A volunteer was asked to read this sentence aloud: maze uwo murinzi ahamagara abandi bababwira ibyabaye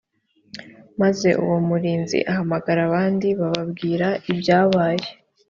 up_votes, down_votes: 2, 0